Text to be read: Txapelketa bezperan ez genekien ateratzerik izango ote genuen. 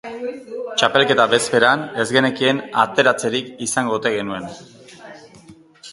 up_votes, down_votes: 2, 0